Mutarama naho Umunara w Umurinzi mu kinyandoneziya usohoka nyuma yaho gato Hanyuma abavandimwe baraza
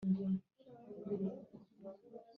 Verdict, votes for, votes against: rejected, 0, 2